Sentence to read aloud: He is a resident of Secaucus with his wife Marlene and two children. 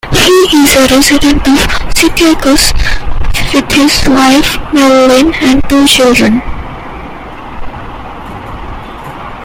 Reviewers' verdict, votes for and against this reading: rejected, 0, 2